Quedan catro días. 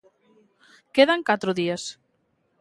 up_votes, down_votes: 2, 0